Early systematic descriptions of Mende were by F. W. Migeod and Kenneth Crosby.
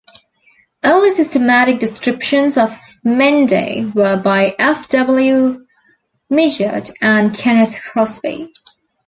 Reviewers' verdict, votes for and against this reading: accepted, 2, 0